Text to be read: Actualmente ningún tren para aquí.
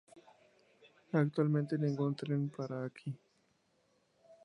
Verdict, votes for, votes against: accepted, 2, 0